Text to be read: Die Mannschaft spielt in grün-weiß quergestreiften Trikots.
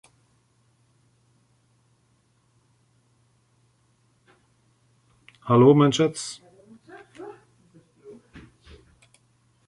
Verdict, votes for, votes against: rejected, 0, 2